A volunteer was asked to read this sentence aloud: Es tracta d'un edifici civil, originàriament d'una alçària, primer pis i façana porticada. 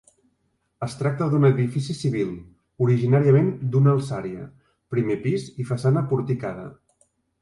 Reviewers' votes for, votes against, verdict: 3, 0, accepted